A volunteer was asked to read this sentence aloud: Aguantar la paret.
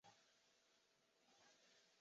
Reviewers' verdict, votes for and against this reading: rejected, 1, 2